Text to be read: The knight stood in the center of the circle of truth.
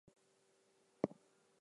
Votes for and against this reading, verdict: 0, 4, rejected